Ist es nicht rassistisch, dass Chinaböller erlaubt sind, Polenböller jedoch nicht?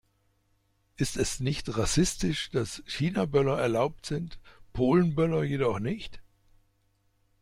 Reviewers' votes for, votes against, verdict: 2, 0, accepted